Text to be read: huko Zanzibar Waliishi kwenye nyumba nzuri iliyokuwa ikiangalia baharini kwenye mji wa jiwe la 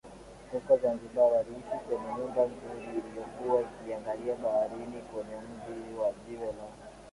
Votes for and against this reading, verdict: 7, 9, rejected